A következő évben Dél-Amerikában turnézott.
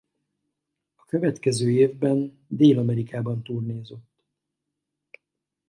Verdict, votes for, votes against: rejected, 2, 2